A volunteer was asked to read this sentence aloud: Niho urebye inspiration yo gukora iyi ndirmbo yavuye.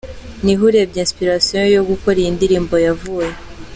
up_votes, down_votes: 2, 1